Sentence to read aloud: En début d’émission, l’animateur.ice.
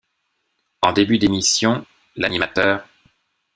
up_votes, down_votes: 1, 2